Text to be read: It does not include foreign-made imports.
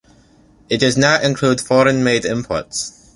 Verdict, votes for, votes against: accepted, 2, 0